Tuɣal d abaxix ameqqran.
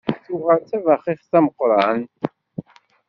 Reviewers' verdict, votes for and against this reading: accepted, 2, 1